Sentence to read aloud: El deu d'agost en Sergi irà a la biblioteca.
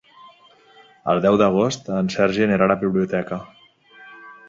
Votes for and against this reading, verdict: 0, 2, rejected